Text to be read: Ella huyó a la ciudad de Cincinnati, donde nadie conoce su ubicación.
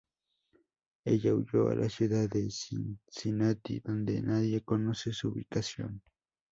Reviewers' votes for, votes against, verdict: 2, 2, rejected